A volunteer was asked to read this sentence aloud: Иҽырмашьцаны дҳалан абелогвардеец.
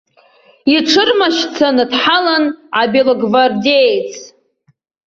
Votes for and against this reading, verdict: 2, 0, accepted